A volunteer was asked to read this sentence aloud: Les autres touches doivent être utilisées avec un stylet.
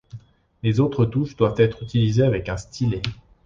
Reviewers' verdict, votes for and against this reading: accepted, 2, 0